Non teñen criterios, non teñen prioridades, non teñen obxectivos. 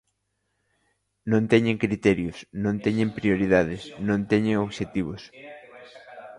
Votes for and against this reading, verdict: 0, 2, rejected